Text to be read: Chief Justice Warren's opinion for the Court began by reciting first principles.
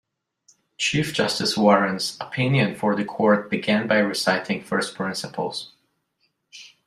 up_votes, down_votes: 2, 0